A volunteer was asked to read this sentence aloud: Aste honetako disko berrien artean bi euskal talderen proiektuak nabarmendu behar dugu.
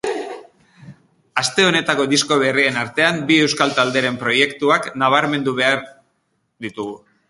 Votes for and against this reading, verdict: 0, 2, rejected